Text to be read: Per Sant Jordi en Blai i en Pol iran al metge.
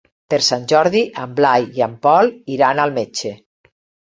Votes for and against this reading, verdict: 3, 0, accepted